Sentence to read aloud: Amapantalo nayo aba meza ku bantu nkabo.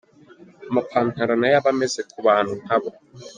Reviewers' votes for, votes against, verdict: 0, 2, rejected